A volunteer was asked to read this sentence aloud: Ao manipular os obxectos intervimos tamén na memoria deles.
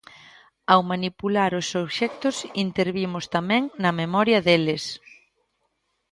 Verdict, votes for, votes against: accepted, 2, 0